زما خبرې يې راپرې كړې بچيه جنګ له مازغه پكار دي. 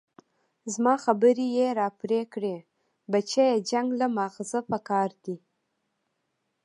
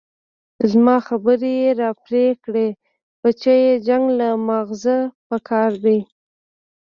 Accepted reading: second